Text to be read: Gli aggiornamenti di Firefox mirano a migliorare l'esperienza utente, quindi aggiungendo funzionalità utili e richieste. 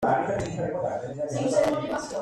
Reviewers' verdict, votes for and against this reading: rejected, 0, 2